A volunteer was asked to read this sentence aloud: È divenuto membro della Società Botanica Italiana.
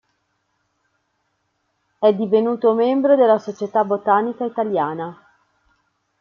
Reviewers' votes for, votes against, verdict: 2, 0, accepted